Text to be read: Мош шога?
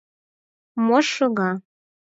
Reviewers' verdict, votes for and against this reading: accepted, 4, 0